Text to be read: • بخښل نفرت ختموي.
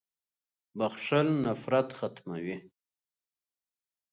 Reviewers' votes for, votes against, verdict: 7, 1, accepted